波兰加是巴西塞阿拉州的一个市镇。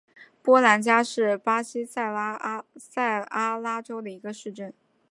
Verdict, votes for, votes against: rejected, 0, 2